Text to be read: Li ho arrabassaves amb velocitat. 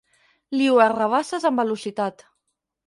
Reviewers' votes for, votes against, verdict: 2, 6, rejected